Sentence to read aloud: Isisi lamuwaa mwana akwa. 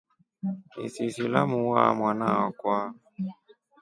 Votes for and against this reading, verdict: 3, 0, accepted